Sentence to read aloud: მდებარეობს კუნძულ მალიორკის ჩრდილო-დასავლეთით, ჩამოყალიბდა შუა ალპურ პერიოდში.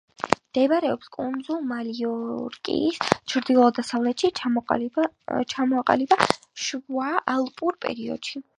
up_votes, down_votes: 2, 1